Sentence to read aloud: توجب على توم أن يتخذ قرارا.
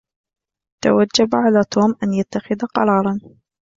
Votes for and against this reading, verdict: 2, 0, accepted